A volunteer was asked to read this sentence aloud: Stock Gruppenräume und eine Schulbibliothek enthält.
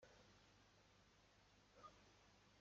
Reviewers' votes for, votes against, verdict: 0, 2, rejected